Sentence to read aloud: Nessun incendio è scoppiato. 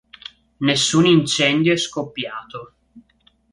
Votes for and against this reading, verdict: 2, 0, accepted